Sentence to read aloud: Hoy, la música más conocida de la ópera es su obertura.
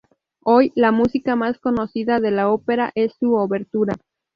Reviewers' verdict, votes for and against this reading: rejected, 0, 2